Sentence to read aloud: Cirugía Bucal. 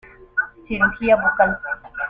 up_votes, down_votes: 2, 1